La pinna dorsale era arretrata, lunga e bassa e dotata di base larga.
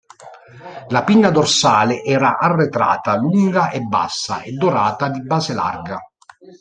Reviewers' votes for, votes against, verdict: 0, 2, rejected